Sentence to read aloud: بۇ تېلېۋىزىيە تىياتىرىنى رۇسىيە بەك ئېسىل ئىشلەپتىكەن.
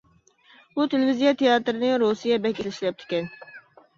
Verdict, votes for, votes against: rejected, 0, 2